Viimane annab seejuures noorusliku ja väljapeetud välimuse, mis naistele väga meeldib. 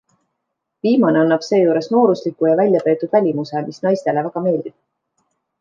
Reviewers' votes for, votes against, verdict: 2, 0, accepted